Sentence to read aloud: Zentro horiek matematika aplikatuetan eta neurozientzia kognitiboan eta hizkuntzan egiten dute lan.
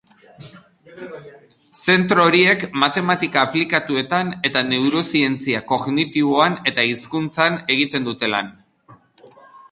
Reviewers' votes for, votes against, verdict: 0, 2, rejected